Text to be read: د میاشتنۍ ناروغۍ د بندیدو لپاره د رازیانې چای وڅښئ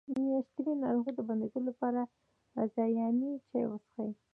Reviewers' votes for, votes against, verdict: 2, 0, accepted